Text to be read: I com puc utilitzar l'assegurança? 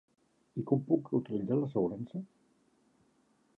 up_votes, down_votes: 2, 1